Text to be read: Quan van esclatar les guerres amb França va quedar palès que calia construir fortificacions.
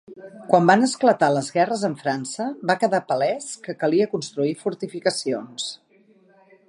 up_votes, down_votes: 2, 0